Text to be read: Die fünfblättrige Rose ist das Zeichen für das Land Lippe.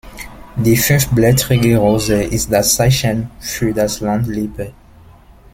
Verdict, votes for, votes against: accepted, 2, 1